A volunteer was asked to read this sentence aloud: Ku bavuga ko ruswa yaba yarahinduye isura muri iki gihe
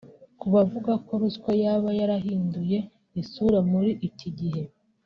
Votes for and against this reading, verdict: 2, 1, accepted